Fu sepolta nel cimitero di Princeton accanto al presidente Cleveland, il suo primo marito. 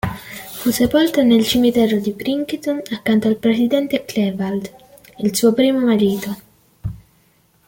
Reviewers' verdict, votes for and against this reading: accepted, 2, 0